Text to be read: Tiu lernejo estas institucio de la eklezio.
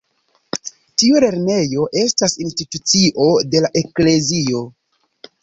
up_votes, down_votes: 1, 2